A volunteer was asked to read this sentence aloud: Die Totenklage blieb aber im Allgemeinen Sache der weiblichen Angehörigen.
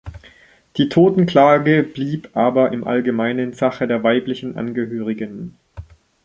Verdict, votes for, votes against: accepted, 2, 0